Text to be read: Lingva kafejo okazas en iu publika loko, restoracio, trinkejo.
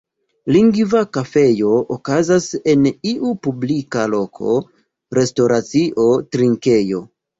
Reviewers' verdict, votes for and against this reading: rejected, 1, 2